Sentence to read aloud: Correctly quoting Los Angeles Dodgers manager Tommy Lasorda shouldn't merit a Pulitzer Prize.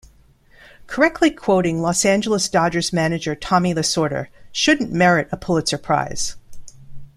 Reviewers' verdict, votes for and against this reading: accepted, 2, 0